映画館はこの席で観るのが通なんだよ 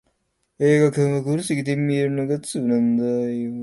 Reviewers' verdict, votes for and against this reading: rejected, 0, 2